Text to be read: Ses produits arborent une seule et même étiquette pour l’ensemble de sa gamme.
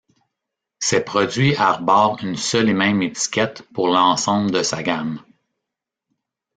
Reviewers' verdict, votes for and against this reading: rejected, 0, 2